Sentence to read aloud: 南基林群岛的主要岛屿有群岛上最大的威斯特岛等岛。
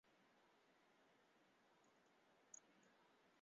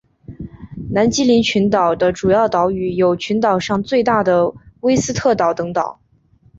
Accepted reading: second